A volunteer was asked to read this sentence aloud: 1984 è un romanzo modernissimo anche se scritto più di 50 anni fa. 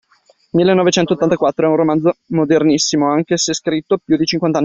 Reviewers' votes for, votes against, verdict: 0, 2, rejected